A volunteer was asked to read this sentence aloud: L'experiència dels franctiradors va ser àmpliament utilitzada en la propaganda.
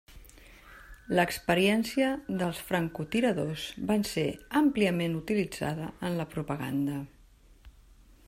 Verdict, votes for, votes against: rejected, 0, 3